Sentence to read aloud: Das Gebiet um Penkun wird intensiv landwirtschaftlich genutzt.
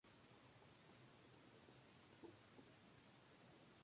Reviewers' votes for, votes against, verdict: 0, 2, rejected